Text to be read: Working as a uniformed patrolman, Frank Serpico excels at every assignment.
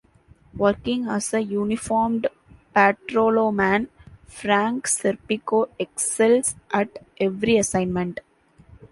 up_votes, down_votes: 0, 2